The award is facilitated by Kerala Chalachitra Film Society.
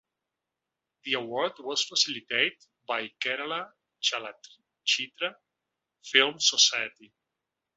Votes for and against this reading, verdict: 0, 3, rejected